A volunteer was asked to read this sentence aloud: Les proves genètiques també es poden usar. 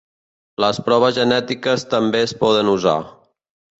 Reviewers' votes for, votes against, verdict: 2, 1, accepted